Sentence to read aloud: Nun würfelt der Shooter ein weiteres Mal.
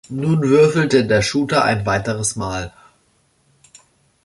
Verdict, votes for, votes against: rejected, 1, 2